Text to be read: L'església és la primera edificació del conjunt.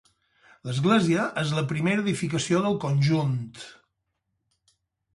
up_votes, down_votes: 2, 2